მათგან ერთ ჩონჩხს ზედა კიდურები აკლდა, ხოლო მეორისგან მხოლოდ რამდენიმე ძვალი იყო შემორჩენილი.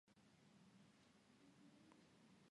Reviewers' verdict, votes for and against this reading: rejected, 0, 2